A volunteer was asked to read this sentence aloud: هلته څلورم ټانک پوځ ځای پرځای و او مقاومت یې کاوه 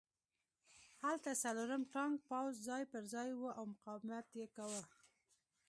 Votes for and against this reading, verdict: 2, 0, accepted